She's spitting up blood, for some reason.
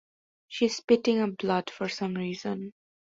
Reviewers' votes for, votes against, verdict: 2, 0, accepted